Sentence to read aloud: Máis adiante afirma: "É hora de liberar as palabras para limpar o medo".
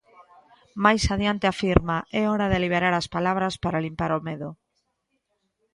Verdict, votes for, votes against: accepted, 3, 0